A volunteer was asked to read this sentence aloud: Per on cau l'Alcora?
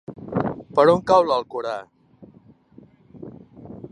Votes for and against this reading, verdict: 1, 2, rejected